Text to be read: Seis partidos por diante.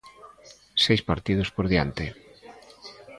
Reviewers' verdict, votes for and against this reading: accepted, 2, 0